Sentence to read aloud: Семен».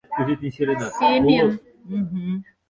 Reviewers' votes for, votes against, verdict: 0, 4, rejected